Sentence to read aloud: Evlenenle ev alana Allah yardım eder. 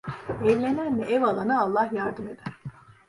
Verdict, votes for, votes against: rejected, 0, 2